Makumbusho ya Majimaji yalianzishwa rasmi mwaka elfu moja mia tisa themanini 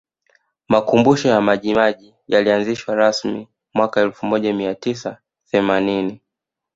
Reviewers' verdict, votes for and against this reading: rejected, 1, 2